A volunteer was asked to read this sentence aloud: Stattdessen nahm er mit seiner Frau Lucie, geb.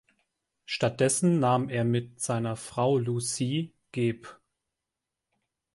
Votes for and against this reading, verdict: 0, 2, rejected